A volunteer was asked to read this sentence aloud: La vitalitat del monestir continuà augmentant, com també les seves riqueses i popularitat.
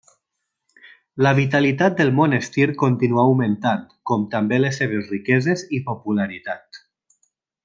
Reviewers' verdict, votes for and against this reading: accepted, 2, 1